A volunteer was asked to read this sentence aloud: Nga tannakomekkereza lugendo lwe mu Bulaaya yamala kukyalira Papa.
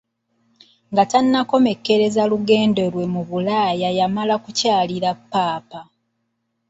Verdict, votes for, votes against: accepted, 2, 1